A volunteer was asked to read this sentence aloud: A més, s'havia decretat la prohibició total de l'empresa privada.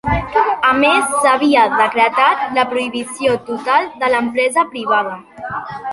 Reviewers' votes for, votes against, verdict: 2, 0, accepted